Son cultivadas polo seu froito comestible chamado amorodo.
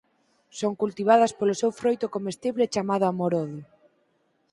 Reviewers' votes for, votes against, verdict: 6, 0, accepted